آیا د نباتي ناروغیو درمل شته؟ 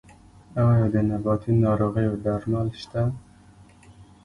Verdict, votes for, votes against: accepted, 3, 1